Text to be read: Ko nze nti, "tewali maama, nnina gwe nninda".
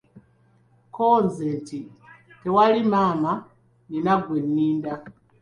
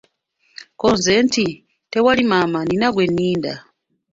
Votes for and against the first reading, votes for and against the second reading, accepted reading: 2, 1, 0, 2, first